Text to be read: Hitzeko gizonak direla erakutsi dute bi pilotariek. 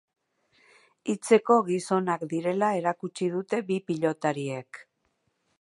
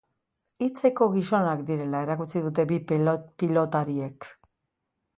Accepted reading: first